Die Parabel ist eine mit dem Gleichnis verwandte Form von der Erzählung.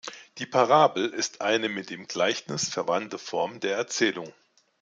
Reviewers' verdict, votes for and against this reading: accepted, 2, 0